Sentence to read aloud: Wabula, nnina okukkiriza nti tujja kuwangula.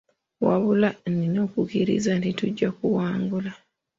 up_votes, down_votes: 2, 0